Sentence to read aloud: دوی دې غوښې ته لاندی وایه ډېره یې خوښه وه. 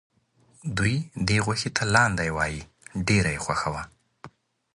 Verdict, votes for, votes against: accepted, 2, 0